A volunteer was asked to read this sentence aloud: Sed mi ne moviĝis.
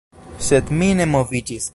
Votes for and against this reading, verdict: 2, 0, accepted